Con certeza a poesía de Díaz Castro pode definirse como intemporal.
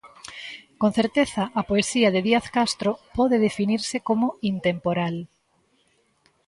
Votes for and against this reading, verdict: 2, 0, accepted